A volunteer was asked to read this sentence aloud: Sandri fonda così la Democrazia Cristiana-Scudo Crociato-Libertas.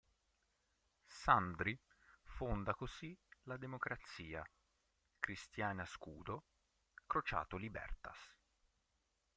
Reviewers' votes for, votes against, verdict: 0, 2, rejected